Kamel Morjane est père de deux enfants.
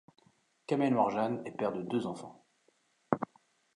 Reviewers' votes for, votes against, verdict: 2, 0, accepted